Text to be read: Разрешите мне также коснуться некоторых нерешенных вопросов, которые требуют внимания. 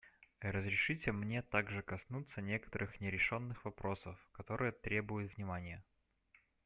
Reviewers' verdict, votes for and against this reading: accepted, 2, 0